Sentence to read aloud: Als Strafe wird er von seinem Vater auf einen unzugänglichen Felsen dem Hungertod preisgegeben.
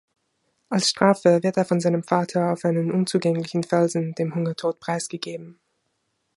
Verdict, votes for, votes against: accepted, 2, 0